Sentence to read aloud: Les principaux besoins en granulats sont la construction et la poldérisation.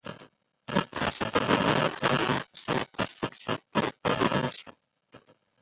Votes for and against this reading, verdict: 0, 2, rejected